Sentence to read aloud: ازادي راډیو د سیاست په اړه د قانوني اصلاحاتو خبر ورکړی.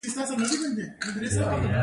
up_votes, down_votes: 2, 0